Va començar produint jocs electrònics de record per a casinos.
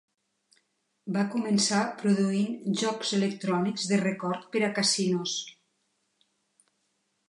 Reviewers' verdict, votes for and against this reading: accepted, 3, 1